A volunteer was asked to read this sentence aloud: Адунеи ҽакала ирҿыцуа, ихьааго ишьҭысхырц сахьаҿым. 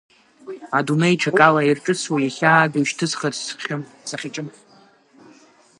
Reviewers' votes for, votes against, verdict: 1, 4, rejected